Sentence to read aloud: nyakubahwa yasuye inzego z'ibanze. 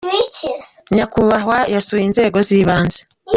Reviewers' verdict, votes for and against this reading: rejected, 0, 2